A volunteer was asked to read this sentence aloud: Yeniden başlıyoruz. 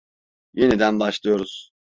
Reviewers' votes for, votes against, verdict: 2, 0, accepted